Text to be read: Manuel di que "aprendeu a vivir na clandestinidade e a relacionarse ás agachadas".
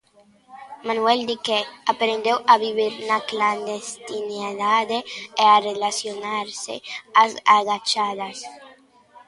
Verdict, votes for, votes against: rejected, 0, 2